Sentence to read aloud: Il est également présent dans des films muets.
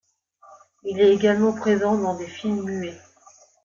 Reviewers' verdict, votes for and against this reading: rejected, 0, 2